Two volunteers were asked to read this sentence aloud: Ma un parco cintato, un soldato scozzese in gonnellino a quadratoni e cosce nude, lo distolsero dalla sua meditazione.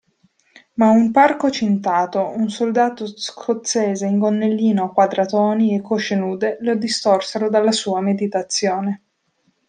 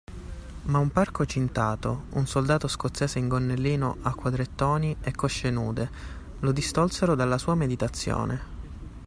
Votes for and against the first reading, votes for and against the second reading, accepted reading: 1, 2, 2, 0, second